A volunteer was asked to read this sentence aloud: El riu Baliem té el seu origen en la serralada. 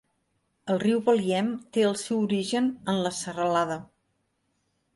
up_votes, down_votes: 3, 0